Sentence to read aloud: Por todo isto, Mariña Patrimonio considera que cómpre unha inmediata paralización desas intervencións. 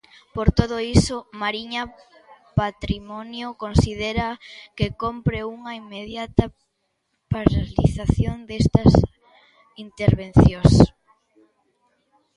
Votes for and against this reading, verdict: 0, 2, rejected